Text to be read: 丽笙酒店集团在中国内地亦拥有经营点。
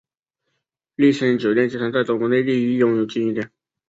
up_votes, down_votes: 8, 0